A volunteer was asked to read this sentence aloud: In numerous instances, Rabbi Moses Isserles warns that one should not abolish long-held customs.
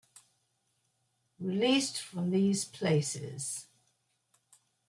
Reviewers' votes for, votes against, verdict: 0, 2, rejected